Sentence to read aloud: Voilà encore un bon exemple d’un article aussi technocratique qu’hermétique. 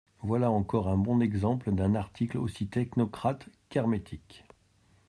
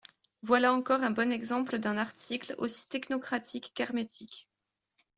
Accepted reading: second